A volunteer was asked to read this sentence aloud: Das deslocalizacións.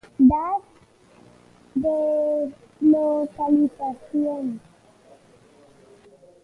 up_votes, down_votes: 0, 2